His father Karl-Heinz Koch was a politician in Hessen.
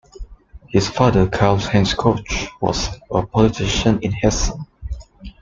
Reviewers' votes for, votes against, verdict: 2, 0, accepted